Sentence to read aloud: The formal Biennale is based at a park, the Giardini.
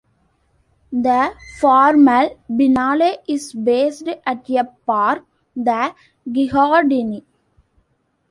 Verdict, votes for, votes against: rejected, 1, 2